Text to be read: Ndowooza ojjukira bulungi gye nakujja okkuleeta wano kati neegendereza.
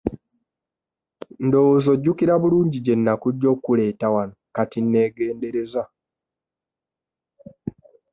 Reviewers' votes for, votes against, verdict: 2, 0, accepted